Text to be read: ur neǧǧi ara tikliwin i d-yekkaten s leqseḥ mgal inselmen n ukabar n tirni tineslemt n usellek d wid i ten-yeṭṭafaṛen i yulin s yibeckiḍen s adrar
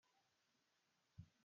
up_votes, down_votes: 0, 2